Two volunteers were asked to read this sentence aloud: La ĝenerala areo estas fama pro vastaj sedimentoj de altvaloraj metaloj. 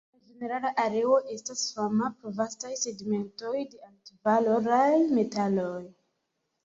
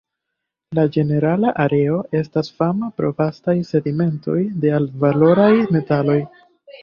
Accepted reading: second